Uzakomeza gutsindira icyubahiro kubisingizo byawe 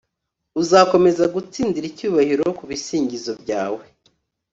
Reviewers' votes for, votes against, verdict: 3, 0, accepted